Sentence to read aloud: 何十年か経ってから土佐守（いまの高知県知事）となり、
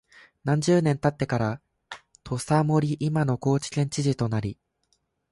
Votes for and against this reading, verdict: 2, 0, accepted